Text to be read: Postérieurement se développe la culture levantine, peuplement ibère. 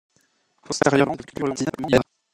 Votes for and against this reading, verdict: 0, 2, rejected